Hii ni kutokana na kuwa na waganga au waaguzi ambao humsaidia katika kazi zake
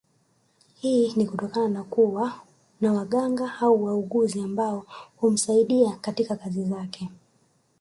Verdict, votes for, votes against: rejected, 0, 2